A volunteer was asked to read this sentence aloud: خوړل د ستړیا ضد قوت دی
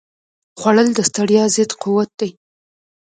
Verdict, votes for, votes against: rejected, 0, 2